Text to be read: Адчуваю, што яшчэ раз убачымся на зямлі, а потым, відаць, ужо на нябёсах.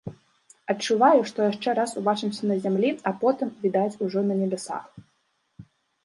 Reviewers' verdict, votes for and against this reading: rejected, 1, 2